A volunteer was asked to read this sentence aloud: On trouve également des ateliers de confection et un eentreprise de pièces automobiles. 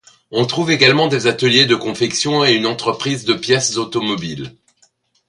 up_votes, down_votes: 0, 2